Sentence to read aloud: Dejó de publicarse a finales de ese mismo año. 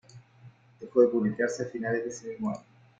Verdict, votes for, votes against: rejected, 1, 2